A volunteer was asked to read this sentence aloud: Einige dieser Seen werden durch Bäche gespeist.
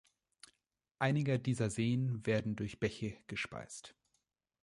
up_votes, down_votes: 1, 2